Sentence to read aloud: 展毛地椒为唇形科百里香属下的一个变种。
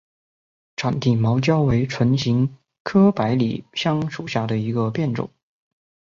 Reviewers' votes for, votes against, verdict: 3, 2, accepted